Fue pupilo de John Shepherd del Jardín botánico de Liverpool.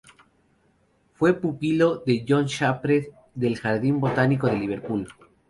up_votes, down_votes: 2, 0